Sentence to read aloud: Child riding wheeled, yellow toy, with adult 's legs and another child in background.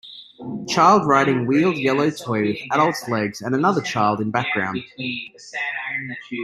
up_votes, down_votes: 1, 2